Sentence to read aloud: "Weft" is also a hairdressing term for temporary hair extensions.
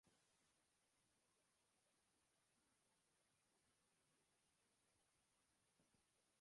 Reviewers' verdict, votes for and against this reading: rejected, 0, 2